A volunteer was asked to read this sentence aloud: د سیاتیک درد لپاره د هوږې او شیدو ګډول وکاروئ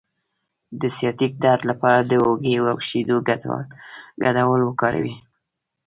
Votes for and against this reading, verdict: 1, 2, rejected